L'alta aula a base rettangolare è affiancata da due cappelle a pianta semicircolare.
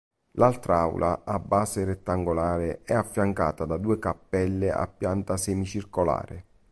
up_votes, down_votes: 1, 2